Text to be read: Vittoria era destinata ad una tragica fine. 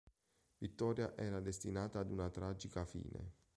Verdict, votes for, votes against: accepted, 3, 0